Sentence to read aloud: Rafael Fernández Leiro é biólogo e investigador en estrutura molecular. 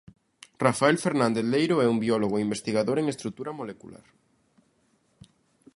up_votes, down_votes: 0, 2